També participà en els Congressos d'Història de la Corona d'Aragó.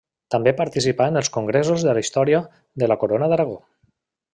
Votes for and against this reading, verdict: 1, 2, rejected